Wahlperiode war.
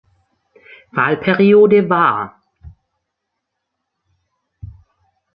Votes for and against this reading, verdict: 2, 0, accepted